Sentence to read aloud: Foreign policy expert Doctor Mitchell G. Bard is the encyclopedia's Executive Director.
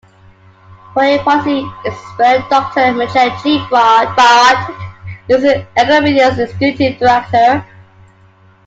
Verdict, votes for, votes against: rejected, 0, 2